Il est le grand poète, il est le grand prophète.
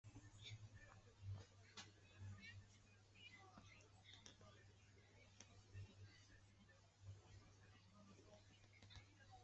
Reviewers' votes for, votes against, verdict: 0, 2, rejected